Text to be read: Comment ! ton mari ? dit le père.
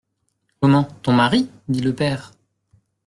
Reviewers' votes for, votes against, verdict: 2, 0, accepted